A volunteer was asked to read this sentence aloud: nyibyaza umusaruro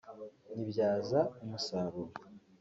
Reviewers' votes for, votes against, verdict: 2, 0, accepted